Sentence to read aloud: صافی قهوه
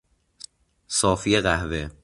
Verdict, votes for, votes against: accepted, 2, 0